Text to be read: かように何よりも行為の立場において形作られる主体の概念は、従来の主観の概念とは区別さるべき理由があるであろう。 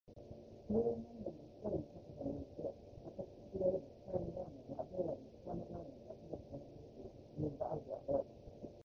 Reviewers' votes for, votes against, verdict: 0, 3, rejected